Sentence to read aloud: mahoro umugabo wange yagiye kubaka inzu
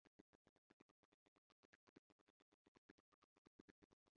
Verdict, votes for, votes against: rejected, 1, 2